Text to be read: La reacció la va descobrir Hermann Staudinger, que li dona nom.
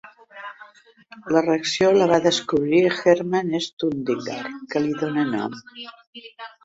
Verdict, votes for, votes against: rejected, 0, 2